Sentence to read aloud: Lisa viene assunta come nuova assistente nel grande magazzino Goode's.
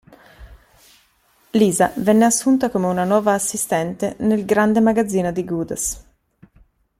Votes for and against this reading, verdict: 0, 2, rejected